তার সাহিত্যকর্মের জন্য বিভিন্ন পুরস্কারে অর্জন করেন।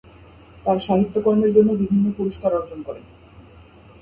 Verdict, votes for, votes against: accepted, 2, 0